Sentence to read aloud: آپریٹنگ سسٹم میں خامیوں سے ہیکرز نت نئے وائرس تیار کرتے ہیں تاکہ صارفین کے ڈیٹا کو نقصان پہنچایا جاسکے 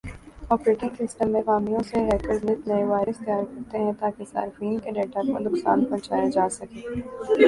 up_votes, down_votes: 1, 2